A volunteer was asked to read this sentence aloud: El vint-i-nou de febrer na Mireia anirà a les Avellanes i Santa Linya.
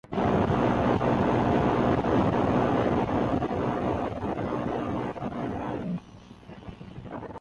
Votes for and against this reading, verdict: 1, 2, rejected